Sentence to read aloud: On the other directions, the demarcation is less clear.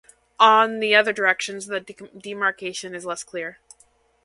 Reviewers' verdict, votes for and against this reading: rejected, 1, 2